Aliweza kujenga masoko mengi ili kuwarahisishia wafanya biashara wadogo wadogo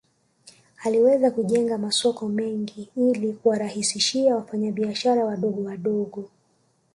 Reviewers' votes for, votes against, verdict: 1, 2, rejected